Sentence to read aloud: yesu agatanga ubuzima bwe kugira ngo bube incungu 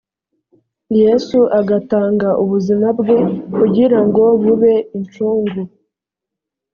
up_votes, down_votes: 2, 0